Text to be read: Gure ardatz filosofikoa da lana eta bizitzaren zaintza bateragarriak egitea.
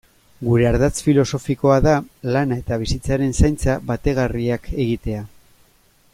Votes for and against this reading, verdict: 0, 2, rejected